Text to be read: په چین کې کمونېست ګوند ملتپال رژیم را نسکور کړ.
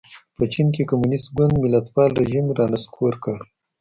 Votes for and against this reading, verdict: 2, 0, accepted